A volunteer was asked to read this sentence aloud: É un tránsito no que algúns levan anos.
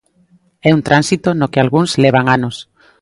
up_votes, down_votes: 2, 0